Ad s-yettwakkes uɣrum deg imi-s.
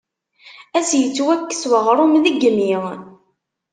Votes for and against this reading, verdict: 0, 2, rejected